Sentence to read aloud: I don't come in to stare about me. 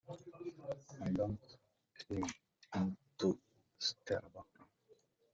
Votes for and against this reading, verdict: 0, 2, rejected